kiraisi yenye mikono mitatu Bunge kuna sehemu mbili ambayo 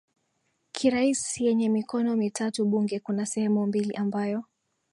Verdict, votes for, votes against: accepted, 2, 0